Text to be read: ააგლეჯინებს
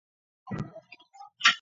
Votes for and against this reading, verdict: 0, 2, rejected